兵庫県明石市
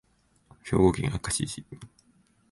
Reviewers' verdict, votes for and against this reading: accepted, 2, 0